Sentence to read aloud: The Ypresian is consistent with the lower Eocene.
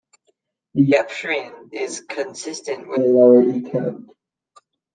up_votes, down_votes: 1, 2